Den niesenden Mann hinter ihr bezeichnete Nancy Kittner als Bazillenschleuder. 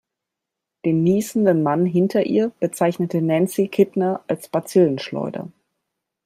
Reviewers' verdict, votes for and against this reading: accepted, 2, 0